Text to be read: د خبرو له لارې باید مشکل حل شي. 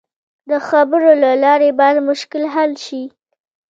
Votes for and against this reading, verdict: 1, 2, rejected